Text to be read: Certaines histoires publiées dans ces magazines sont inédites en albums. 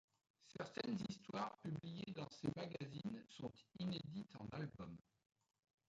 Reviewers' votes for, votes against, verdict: 1, 2, rejected